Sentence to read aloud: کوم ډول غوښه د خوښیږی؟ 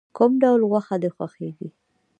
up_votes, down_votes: 1, 2